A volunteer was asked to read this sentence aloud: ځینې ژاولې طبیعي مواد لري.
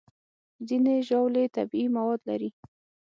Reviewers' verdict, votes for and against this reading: accepted, 6, 0